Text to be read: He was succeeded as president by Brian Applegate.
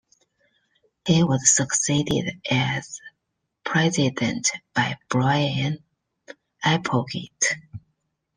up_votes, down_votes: 2, 1